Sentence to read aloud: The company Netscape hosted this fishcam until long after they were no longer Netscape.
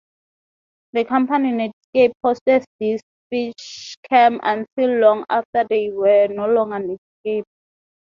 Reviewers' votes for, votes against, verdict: 0, 2, rejected